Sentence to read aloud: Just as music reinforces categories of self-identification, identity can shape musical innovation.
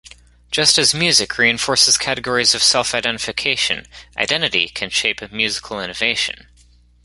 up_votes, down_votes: 2, 1